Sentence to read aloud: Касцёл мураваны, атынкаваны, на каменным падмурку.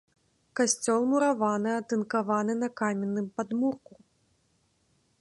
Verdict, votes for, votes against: accepted, 2, 1